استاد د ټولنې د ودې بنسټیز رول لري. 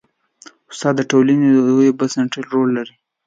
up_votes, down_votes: 2, 1